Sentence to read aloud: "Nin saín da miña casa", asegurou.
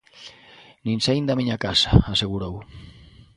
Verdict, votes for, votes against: accepted, 2, 0